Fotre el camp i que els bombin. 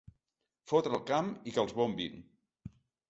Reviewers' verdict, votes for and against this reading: accepted, 2, 0